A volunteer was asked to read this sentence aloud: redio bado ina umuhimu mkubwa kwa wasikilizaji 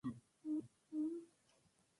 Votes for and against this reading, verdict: 0, 2, rejected